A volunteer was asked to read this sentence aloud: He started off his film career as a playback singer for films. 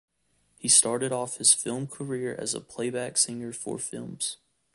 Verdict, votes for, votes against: accepted, 2, 0